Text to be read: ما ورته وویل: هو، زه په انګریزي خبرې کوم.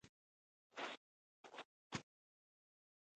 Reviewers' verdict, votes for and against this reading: rejected, 1, 2